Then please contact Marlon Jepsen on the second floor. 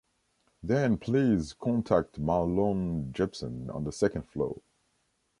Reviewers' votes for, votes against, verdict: 2, 0, accepted